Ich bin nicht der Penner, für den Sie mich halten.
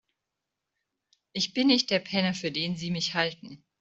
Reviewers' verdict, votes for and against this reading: accepted, 2, 0